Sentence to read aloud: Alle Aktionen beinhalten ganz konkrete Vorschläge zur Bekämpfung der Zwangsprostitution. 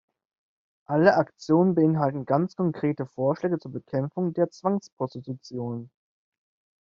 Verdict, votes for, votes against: accepted, 2, 0